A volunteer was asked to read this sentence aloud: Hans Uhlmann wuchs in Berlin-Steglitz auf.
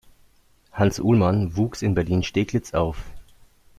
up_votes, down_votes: 2, 0